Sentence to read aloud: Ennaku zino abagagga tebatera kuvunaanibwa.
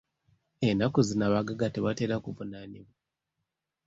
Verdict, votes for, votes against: rejected, 1, 2